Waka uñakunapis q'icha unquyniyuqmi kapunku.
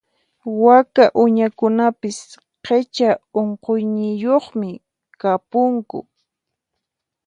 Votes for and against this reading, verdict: 2, 4, rejected